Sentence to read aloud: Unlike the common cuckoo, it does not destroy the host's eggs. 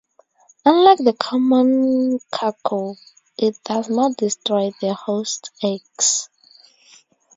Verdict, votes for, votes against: accepted, 2, 0